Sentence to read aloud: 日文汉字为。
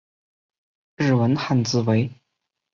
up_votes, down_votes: 4, 1